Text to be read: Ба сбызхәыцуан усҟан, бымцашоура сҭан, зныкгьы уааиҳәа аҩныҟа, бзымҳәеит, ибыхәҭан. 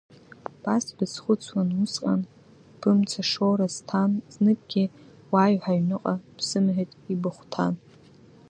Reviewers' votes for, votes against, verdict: 2, 1, accepted